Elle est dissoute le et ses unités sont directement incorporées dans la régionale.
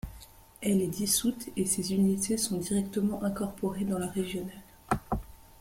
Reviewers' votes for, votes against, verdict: 1, 2, rejected